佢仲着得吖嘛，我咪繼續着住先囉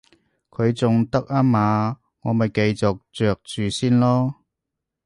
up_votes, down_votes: 1, 2